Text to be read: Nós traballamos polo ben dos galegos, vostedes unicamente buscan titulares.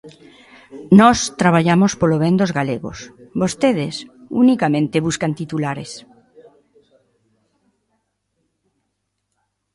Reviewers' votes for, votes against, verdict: 0, 2, rejected